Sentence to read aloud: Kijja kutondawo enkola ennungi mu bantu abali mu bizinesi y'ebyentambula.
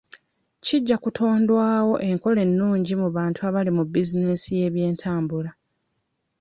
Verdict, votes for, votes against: rejected, 0, 2